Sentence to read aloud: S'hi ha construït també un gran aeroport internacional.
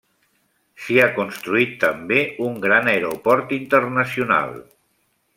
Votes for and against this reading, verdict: 3, 0, accepted